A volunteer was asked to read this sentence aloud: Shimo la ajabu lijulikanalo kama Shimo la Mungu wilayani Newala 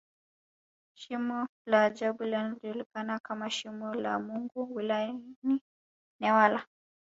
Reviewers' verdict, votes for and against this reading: accepted, 2, 0